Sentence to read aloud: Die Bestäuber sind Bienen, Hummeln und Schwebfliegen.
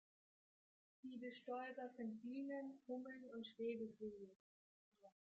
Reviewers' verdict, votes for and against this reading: rejected, 0, 2